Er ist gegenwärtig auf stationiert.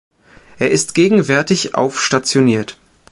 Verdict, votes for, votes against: accepted, 2, 0